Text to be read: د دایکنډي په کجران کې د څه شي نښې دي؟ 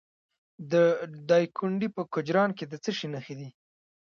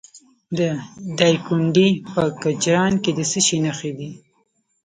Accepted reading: first